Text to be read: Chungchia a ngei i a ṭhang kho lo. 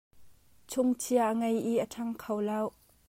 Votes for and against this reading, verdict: 2, 1, accepted